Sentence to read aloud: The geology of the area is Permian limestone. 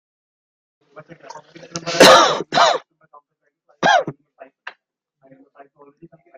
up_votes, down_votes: 0, 2